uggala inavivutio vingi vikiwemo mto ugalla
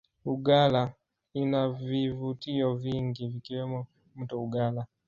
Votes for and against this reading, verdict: 1, 2, rejected